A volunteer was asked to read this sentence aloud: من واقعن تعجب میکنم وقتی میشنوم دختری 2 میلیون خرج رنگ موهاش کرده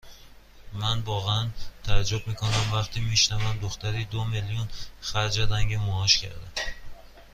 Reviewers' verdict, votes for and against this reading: rejected, 0, 2